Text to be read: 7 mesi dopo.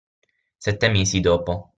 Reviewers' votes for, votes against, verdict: 0, 2, rejected